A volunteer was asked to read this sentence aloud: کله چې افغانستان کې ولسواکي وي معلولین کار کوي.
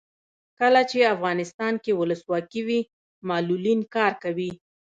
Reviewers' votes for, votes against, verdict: 1, 2, rejected